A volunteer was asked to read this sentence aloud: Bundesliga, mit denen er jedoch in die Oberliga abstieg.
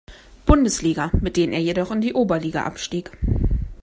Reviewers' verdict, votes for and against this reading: accepted, 2, 0